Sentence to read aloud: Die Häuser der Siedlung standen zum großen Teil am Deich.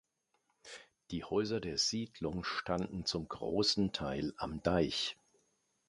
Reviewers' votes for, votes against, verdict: 2, 0, accepted